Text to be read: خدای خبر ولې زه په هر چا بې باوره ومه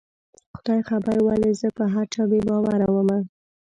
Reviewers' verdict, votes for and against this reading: rejected, 0, 2